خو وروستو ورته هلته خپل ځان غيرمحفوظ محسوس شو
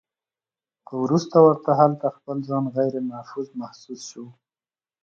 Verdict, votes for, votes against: accepted, 2, 0